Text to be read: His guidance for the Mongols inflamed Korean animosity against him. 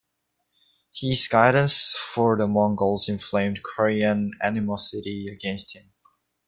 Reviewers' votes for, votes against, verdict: 2, 0, accepted